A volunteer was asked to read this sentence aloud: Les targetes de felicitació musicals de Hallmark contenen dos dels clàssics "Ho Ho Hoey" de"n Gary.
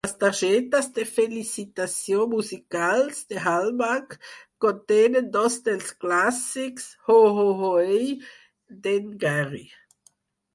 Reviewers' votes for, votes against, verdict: 2, 4, rejected